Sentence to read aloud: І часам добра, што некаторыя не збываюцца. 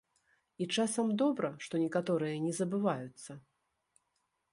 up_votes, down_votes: 1, 2